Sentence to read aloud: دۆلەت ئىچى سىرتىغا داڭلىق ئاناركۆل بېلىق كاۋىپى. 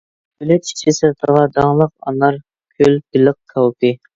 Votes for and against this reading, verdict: 0, 2, rejected